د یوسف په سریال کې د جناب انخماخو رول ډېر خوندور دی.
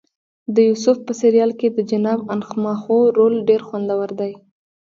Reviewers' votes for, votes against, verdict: 2, 0, accepted